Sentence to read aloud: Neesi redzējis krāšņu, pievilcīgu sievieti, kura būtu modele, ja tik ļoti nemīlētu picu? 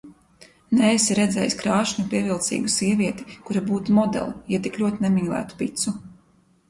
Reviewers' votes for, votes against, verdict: 0, 2, rejected